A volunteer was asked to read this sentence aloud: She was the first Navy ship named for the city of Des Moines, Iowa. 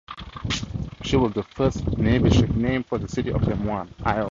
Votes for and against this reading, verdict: 2, 0, accepted